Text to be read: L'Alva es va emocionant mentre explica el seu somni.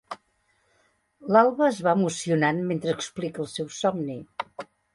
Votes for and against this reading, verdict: 2, 0, accepted